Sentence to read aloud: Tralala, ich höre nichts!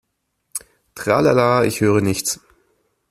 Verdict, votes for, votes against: accepted, 2, 0